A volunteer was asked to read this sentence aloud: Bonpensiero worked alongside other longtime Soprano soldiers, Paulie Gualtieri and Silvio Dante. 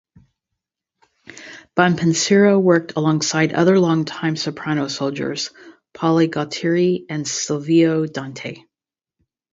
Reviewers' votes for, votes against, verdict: 2, 2, rejected